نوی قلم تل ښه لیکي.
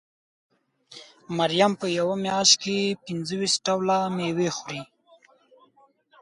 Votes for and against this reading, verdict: 0, 2, rejected